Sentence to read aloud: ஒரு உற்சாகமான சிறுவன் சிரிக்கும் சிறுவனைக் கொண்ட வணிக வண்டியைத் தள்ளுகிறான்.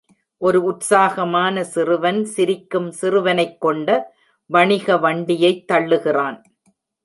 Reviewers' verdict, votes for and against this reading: accepted, 2, 0